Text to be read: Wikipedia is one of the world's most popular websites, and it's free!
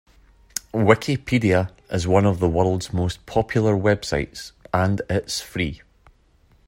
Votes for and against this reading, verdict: 2, 0, accepted